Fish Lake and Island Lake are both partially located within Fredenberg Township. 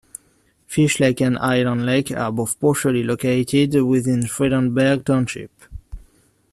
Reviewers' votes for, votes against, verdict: 2, 0, accepted